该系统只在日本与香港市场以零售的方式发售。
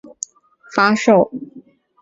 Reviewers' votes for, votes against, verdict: 1, 3, rejected